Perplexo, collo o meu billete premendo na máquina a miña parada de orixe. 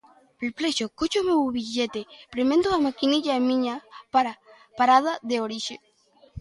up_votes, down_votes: 0, 2